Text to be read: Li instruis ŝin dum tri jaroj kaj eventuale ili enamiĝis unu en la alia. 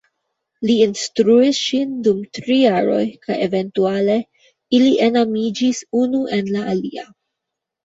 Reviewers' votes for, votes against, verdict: 2, 1, accepted